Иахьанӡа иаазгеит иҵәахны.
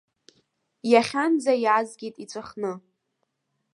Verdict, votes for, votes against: accepted, 2, 0